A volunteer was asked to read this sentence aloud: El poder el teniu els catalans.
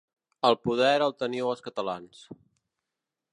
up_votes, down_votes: 4, 0